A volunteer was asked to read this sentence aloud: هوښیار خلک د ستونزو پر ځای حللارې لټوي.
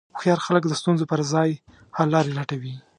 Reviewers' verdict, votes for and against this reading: accepted, 2, 1